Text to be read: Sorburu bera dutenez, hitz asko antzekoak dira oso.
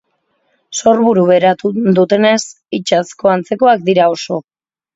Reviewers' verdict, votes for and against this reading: rejected, 1, 3